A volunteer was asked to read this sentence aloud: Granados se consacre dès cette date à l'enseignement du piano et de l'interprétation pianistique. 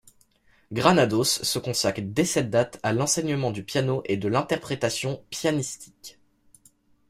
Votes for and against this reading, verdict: 2, 0, accepted